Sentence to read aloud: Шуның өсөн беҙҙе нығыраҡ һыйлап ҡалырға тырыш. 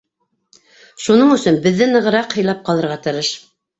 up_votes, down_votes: 2, 0